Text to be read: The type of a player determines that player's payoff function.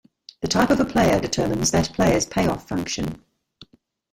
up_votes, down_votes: 1, 2